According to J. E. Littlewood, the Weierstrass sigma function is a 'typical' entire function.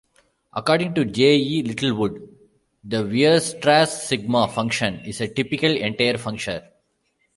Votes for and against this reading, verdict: 1, 2, rejected